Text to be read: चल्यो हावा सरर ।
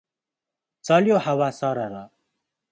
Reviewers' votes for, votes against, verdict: 2, 0, accepted